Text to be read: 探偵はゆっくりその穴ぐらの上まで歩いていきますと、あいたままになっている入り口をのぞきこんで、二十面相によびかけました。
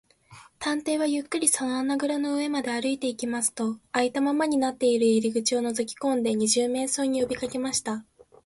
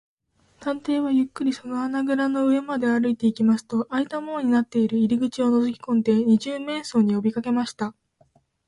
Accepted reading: first